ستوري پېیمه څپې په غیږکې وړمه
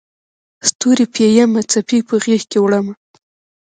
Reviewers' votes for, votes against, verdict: 2, 0, accepted